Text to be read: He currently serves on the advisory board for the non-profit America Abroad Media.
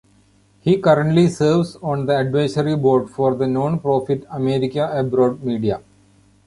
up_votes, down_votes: 2, 1